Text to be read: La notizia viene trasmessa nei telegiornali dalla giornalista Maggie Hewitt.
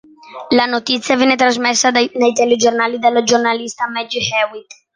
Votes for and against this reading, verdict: 0, 2, rejected